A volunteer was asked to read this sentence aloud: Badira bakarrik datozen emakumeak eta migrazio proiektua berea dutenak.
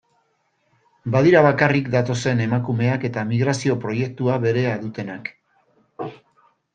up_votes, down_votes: 2, 0